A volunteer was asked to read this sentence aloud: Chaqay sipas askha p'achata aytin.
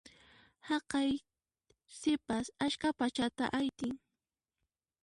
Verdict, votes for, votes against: rejected, 0, 2